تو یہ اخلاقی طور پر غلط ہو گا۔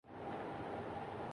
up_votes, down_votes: 0, 3